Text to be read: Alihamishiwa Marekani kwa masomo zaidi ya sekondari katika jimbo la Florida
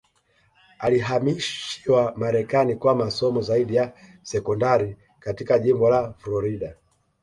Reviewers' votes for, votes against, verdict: 2, 1, accepted